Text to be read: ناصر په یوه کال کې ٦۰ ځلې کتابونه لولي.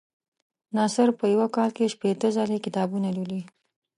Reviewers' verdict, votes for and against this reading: rejected, 0, 2